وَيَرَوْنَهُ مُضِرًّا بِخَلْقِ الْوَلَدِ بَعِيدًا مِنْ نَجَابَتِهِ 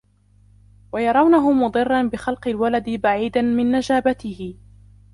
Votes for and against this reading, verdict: 0, 2, rejected